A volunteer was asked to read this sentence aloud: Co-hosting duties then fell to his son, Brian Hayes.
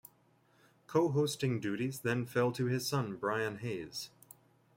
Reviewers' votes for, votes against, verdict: 2, 0, accepted